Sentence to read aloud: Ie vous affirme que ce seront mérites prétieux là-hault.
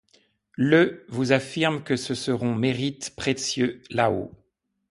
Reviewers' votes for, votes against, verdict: 2, 0, accepted